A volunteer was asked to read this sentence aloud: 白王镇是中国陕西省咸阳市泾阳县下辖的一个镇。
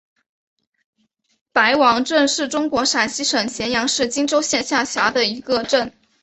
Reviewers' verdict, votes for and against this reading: rejected, 1, 2